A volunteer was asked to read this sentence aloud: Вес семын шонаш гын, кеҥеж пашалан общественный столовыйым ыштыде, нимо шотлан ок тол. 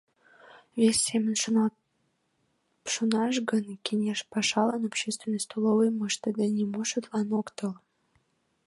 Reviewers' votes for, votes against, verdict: 1, 2, rejected